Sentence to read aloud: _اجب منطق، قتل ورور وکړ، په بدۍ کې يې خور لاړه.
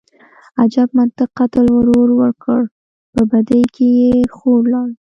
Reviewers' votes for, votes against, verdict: 2, 0, accepted